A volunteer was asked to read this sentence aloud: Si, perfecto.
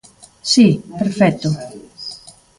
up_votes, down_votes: 2, 0